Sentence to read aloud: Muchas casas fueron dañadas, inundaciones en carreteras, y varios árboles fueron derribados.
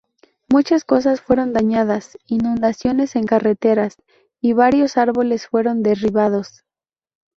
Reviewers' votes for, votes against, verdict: 0, 2, rejected